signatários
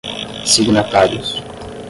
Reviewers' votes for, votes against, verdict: 10, 0, accepted